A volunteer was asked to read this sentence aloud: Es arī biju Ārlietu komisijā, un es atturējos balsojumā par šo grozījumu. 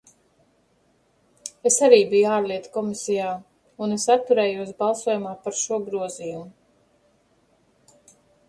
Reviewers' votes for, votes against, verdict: 2, 0, accepted